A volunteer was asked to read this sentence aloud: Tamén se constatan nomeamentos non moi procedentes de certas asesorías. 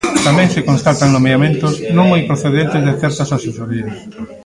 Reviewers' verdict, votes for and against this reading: rejected, 0, 2